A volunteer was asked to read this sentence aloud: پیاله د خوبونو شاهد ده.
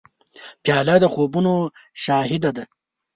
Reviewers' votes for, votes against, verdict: 3, 0, accepted